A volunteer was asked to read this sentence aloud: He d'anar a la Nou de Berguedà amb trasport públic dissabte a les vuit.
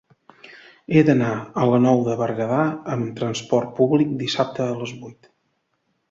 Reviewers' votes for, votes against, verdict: 2, 0, accepted